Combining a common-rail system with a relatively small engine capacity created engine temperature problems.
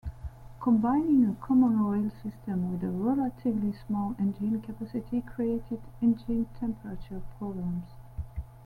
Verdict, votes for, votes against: accepted, 2, 0